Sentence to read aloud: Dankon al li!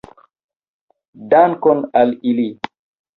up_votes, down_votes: 0, 2